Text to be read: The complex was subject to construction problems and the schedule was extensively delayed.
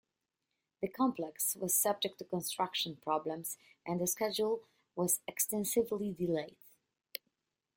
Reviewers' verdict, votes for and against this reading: rejected, 0, 2